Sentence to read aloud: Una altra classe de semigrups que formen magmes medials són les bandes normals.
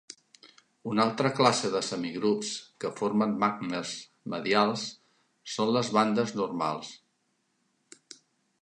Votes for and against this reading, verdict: 0, 2, rejected